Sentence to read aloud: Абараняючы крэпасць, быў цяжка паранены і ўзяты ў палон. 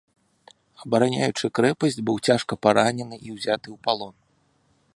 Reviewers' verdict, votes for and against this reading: accepted, 2, 0